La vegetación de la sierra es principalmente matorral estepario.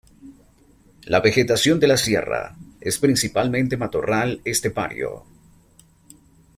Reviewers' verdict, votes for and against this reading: accepted, 2, 0